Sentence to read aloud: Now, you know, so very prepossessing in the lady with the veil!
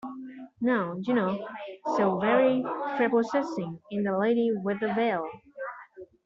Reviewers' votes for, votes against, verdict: 2, 1, accepted